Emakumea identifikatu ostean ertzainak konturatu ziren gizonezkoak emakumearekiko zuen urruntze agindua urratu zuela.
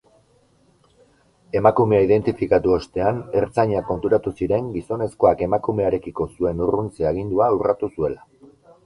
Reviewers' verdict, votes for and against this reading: rejected, 0, 2